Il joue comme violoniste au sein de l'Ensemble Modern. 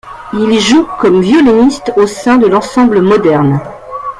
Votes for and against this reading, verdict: 1, 2, rejected